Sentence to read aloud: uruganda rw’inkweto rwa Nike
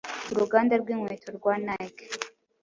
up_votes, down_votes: 2, 0